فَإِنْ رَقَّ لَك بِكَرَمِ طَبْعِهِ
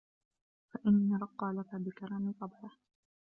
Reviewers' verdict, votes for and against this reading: rejected, 0, 2